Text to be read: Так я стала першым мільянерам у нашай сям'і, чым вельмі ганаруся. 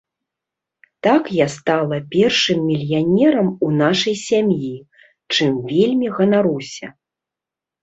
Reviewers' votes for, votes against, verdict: 2, 0, accepted